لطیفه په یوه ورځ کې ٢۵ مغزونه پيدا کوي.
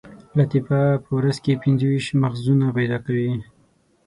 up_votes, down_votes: 0, 2